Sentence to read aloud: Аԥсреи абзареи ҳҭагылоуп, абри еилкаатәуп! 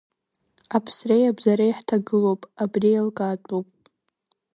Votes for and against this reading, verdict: 1, 2, rejected